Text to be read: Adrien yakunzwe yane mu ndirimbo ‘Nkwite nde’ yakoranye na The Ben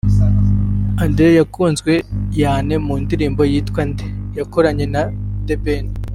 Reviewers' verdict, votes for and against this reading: rejected, 0, 2